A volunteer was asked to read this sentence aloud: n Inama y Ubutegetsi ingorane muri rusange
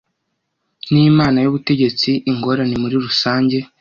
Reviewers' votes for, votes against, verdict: 1, 2, rejected